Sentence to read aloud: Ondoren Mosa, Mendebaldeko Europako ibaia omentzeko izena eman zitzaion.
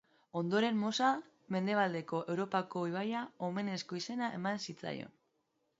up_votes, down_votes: 0, 2